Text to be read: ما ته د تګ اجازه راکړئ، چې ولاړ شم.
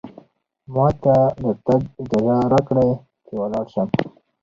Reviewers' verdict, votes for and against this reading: accepted, 4, 0